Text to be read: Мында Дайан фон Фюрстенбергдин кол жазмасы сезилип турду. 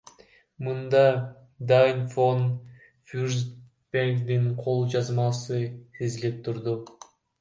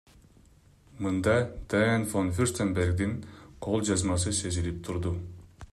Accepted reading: second